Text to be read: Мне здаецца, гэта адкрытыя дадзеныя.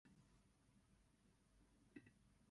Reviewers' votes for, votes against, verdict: 1, 2, rejected